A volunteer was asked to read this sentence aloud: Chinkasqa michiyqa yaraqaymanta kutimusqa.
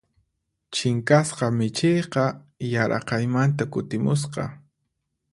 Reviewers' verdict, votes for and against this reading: accepted, 4, 0